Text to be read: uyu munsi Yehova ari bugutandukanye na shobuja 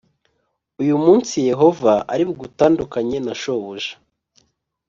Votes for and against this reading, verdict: 2, 0, accepted